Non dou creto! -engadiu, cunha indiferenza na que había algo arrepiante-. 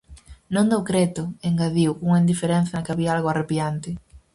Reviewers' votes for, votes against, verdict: 4, 0, accepted